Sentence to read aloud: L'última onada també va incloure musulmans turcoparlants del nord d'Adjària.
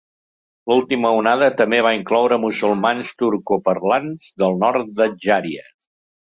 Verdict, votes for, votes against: accepted, 2, 0